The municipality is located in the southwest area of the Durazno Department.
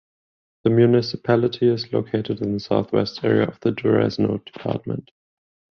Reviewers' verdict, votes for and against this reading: rejected, 5, 10